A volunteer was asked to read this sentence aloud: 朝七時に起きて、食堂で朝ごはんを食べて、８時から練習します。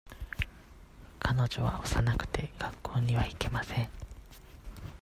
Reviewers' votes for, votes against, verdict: 0, 2, rejected